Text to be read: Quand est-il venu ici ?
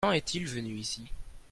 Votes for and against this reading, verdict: 0, 2, rejected